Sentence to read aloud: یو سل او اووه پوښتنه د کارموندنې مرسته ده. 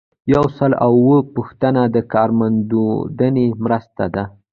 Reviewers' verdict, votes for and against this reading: rejected, 1, 2